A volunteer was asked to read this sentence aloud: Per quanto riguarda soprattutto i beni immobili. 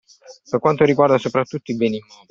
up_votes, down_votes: 1, 2